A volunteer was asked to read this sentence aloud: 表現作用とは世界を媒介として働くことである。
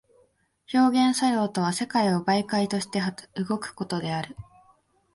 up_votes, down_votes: 1, 2